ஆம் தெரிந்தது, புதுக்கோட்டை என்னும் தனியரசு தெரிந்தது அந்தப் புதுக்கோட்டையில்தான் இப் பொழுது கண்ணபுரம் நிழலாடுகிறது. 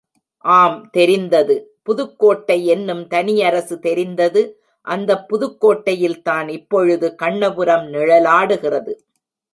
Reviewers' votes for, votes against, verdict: 2, 0, accepted